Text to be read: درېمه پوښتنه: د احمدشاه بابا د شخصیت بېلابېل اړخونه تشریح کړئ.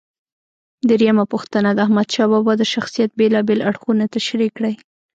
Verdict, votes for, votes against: rejected, 1, 2